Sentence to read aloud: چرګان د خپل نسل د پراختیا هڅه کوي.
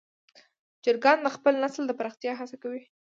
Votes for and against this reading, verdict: 2, 0, accepted